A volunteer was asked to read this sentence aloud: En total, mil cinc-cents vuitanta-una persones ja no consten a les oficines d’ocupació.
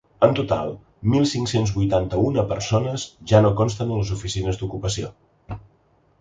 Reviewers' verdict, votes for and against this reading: accepted, 2, 0